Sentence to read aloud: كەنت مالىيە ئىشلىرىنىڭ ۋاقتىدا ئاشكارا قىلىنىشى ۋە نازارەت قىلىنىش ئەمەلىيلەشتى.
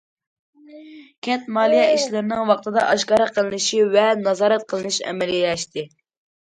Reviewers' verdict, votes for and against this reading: accepted, 2, 0